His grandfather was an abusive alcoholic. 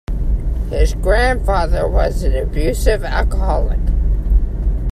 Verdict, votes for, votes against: accepted, 2, 0